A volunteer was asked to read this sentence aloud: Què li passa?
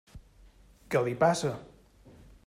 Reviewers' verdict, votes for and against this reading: accepted, 3, 0